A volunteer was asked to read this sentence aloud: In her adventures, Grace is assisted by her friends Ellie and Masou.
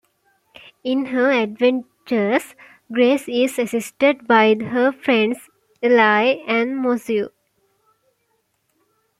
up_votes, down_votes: 2, 1